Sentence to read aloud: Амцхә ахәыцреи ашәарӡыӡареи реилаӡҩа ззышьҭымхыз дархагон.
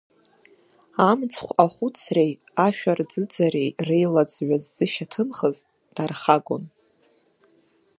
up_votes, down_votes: 2, 0